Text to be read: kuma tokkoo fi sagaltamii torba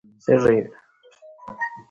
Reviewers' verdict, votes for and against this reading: rejected, 1, 2